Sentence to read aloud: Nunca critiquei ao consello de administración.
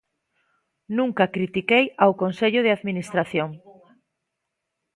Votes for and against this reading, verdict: 2, 1, accepted